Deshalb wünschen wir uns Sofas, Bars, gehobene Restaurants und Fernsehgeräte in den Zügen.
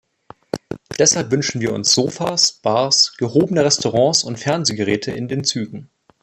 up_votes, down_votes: 0, 2